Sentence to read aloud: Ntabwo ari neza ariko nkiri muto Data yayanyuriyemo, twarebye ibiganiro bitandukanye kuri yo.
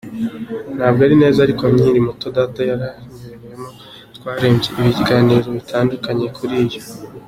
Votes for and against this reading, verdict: 2, 0, accepted